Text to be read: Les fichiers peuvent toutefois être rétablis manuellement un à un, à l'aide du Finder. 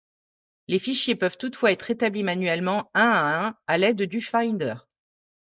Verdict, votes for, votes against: accepted, 2, 0